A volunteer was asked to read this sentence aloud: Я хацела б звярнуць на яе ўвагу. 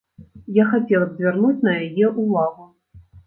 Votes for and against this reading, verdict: 1, 2, rejected